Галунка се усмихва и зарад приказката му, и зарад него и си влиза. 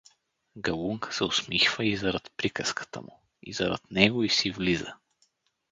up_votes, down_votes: 4, 0